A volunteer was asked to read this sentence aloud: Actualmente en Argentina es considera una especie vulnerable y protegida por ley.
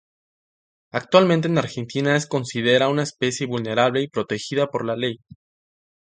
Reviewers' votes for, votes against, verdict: 0, 2, rejected